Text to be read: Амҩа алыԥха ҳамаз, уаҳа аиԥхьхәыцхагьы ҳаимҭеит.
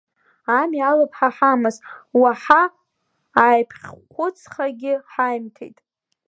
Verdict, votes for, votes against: rejected, 1, 2